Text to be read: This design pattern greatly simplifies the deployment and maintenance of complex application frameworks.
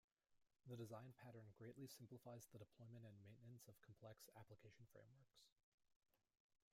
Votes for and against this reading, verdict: 1, 2, rejected